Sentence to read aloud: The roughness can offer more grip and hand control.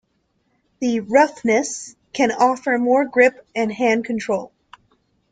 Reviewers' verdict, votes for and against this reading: accepted, 2, 0